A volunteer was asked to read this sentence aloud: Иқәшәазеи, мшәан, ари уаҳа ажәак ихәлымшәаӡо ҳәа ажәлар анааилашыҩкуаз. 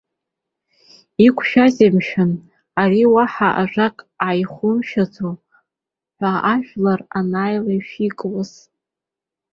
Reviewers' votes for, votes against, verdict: 1, 2, rejected